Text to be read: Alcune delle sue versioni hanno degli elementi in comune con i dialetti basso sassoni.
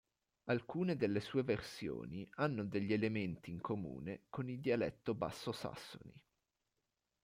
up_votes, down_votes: 1, 2